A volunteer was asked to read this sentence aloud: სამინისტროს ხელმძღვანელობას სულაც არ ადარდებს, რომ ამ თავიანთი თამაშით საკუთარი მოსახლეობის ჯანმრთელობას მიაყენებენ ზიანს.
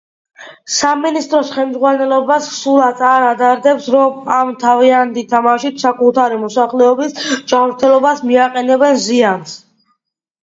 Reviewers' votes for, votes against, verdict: 2, 0, accepted